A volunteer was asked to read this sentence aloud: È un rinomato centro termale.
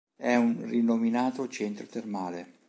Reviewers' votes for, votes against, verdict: 1, 2, rejected